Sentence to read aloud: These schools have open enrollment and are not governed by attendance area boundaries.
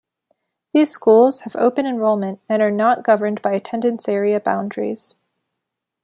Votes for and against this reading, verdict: 2, 0, accepted